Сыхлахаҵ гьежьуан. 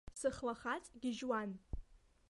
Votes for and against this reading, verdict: 2, 0, accepted